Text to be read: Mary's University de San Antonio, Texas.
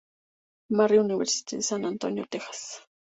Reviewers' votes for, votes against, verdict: 0, 2, rejected